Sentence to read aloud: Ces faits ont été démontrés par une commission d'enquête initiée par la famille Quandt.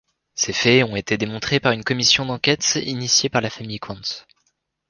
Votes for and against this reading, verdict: 2, 0, accepted